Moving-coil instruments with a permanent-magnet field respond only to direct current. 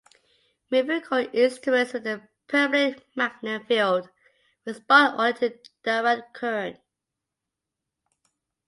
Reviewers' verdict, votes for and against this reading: accepted, 2, 0